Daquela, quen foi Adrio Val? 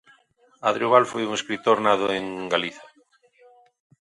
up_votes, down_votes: 0, 2